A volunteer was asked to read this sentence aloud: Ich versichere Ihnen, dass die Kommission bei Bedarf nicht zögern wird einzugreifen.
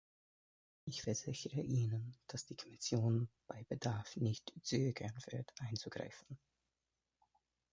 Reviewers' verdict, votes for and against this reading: rejected, 0, 2